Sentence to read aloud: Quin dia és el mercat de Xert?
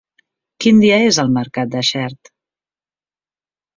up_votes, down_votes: 3, 0